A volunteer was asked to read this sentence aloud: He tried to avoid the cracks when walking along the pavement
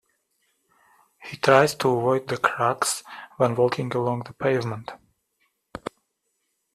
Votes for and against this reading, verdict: 0, 2, rejected